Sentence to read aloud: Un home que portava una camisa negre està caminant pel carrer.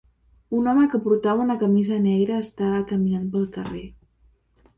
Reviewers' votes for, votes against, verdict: 2, 0, accepted